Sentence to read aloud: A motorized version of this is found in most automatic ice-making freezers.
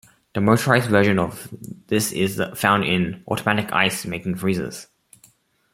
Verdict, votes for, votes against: rejected, 0, 2